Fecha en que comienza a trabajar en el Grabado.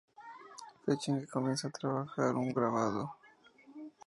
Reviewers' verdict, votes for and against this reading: rejected, 0, 2